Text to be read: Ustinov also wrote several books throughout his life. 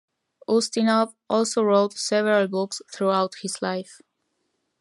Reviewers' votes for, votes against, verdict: 1, 2, rejected